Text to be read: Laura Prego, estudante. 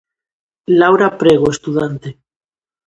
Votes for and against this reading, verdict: 2, 0, accepted